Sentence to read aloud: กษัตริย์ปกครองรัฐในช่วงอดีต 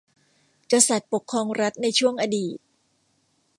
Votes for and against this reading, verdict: 2, 0, accepted